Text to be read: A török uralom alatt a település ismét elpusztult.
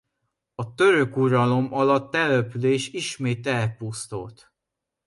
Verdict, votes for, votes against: rejected, 0, 2